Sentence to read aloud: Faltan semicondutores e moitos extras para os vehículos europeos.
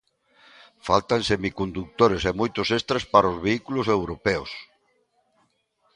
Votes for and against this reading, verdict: 2, 0, accepted